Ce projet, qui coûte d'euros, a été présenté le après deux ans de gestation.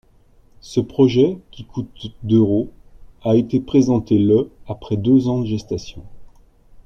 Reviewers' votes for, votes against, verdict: 2, 0, accepted